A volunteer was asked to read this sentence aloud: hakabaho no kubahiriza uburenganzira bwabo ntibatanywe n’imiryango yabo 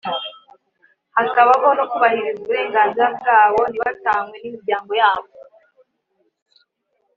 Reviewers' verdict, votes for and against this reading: accepted, 2, 1